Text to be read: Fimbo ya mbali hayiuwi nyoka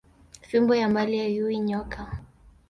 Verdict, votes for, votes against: rejected, 1, 2